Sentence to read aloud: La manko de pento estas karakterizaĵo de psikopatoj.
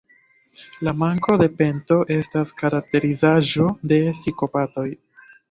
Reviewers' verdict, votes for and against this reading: accepted, 2, 0